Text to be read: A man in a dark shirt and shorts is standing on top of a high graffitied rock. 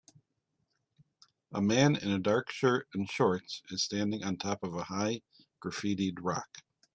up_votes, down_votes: 2, 0